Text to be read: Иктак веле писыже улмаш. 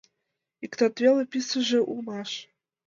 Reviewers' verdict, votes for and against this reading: rejected, 1, 2